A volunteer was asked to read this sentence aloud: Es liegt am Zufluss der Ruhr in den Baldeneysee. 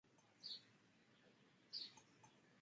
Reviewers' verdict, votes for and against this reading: rejected, 0, 2